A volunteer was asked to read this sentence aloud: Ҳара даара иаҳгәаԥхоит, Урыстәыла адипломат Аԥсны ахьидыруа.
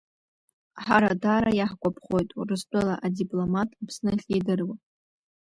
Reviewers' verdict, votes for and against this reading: accepted, 2, 0